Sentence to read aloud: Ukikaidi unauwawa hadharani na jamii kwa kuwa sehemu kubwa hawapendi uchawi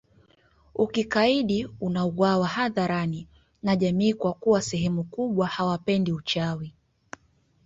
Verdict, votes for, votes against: rejected, 0, 2